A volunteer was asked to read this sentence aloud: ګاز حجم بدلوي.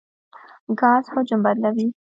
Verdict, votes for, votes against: rejected, 1, 2